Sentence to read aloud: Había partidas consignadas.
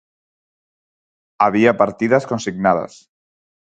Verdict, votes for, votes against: accepted, 6, 0